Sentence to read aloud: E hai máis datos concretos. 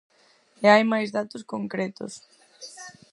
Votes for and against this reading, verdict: 4, 0, accepted